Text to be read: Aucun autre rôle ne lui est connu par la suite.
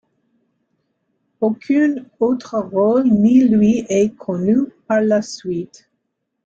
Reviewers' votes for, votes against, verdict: 2, 1, accepted